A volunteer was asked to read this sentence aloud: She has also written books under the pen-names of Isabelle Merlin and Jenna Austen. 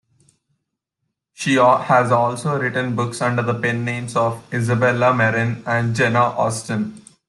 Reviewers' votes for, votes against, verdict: 0, 2, rejected